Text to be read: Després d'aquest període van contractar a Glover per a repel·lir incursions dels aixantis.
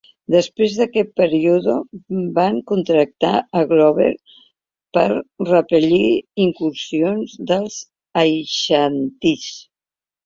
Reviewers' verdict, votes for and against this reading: rejected, 1, 2